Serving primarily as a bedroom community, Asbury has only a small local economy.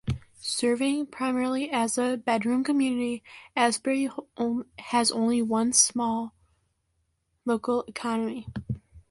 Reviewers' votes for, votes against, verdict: 0, 2, rejected